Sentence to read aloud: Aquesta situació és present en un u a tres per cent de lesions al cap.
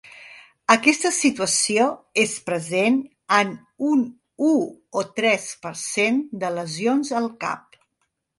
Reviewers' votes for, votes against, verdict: 1, 4, rejected